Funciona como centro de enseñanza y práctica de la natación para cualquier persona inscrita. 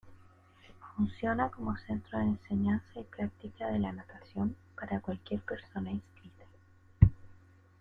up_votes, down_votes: 1, 2